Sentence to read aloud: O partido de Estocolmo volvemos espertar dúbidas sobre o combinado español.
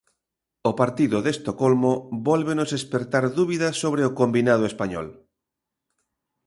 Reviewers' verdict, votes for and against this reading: rejected, 0, 2